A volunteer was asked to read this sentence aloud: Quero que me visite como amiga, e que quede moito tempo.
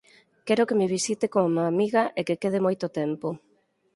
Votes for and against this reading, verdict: 2, 4, rejected